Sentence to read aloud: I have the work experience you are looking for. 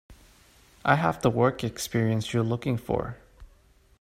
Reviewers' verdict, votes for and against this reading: accepted, 2, 1